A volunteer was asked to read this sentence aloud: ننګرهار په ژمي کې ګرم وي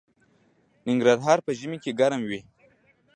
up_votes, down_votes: 3, 0